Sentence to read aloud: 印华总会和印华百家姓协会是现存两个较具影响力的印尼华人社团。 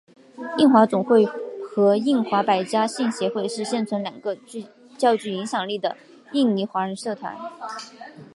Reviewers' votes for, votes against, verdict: 2, 0, accepted